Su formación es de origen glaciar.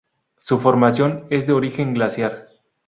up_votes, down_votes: 4, 0